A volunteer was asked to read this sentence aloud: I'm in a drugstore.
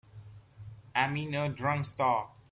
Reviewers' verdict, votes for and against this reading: rejected, 1, 2